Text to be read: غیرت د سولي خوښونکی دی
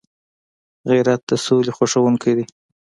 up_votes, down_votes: 2, 0